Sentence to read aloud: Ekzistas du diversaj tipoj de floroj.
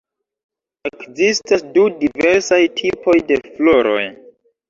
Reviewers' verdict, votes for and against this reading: rejected, 1, 2